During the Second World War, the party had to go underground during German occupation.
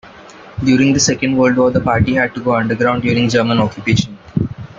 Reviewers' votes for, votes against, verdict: 1, 2, rejected